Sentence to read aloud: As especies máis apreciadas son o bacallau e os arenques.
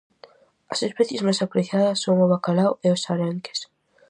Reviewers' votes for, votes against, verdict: 0, 2, rejected